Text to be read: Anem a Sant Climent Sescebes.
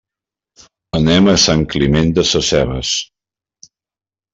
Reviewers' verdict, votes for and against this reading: rejected, 1, 2